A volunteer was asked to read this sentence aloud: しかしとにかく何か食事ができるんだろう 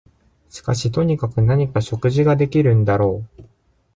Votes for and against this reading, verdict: 2, 0, accepted